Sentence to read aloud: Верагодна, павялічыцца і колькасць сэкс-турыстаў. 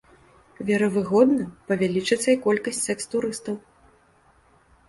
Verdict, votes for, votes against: rejected, 0, 2